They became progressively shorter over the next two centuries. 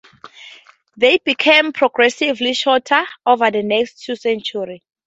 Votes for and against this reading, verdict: 2, 0, accepted